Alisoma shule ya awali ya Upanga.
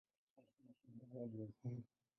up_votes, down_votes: 0, 3